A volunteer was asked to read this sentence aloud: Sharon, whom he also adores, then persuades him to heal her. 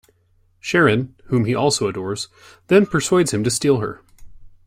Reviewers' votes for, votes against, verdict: 0, 2, rejected